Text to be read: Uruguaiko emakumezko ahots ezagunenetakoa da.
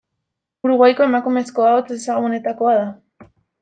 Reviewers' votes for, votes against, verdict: 0, 2, rejected